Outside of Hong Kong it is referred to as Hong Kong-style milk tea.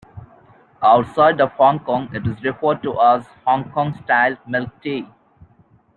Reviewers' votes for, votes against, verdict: 2, 0, accepted